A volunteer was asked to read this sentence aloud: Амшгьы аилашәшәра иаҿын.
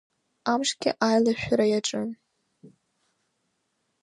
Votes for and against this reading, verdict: 2, 0, accepted